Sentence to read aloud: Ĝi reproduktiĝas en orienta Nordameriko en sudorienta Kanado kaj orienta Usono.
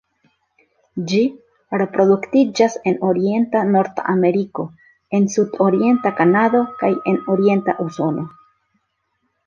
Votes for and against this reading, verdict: 0, 2, rejected